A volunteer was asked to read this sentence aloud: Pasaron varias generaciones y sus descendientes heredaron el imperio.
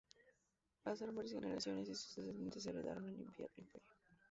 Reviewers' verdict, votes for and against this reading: rejected, 0, 2